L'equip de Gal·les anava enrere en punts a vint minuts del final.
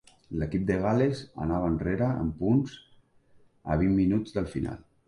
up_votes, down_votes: 2, 0